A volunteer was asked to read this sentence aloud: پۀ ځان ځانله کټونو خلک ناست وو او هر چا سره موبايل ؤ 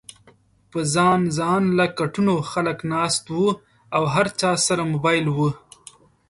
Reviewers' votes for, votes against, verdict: 2, 0, accepted